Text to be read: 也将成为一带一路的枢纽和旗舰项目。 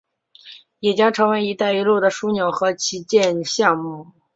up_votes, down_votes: 6, 0